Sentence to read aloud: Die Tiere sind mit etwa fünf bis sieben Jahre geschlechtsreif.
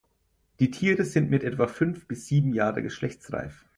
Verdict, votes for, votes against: accepted, 4, 0